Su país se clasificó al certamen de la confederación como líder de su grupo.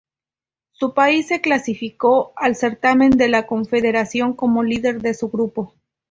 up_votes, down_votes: 2, 0